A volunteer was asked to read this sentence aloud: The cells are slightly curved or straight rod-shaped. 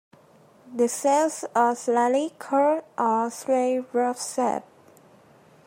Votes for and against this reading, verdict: 0, 2, rejected